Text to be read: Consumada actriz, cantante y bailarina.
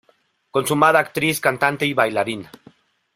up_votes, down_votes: 2, 0